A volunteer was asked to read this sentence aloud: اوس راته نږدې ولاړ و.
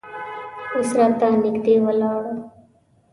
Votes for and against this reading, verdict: 1, 2, rejected